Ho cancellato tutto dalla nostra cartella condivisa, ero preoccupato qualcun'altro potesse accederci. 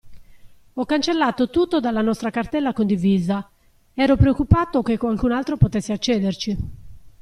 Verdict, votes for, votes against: rejected, 1, 2